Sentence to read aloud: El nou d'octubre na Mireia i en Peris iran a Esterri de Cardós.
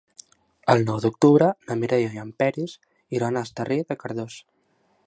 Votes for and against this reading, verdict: 2, 0, accepted